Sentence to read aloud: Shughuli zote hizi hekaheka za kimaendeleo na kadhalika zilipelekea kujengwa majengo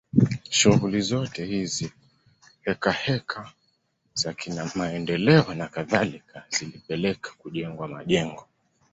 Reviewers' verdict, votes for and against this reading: accepted, 2, 1